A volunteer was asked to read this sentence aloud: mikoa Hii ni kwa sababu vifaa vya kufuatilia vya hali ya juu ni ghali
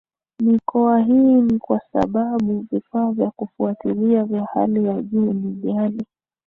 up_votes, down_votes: 2, 0